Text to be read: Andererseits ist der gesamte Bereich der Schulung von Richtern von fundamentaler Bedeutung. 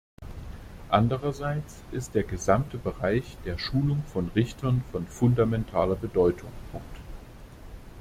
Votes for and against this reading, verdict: 0, 2, rejected